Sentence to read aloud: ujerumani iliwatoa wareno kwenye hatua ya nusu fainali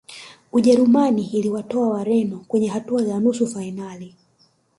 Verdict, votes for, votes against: accepted, 2, 0